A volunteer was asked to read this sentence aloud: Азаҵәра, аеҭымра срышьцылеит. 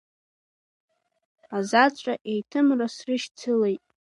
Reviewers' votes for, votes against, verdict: 1, 2, rejected